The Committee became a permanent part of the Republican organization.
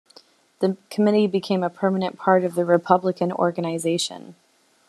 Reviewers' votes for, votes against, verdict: 2, 0, accepted